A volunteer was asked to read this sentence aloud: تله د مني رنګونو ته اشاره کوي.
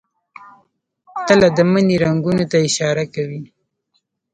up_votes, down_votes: 1, 2